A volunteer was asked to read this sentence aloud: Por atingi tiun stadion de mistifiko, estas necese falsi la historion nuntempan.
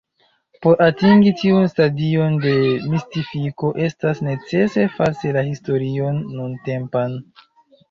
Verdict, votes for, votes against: rejected, 0, 2